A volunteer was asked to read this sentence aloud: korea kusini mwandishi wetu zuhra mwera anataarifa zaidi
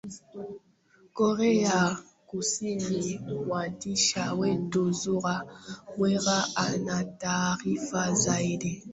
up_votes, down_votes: 0, 2